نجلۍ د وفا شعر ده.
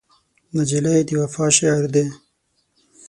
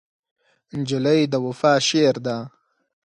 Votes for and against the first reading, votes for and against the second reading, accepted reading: 0, 6, 4, 0, second